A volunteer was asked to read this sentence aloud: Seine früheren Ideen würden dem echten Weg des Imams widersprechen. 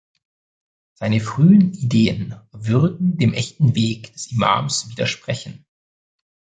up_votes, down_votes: 0, 2